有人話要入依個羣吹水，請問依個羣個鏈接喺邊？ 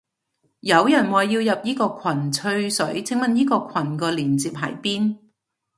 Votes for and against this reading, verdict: 2, 0, accepted